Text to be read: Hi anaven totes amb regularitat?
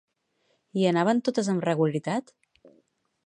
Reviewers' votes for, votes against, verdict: 2, 2, rejected